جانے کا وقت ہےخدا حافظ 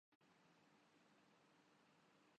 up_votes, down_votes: 0, 2